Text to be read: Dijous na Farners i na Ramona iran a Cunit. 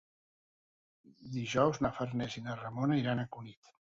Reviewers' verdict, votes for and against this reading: accepted, 5, 0